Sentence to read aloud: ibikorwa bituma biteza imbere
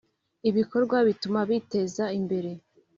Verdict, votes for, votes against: accepted, 3, 0